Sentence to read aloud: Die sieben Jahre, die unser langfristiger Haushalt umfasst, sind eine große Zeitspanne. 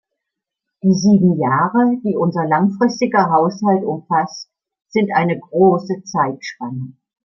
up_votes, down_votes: 3, 0